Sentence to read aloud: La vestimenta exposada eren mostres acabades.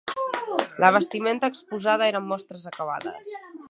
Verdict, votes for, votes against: rejected, 0, 2